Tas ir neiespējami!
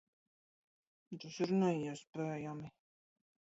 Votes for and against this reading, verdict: 1, 2, rejected